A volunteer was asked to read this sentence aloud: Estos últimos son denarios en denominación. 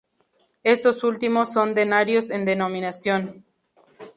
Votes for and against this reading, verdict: 4, 0, accepted